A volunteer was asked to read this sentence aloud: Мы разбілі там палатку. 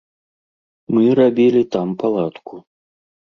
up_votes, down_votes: 0, 2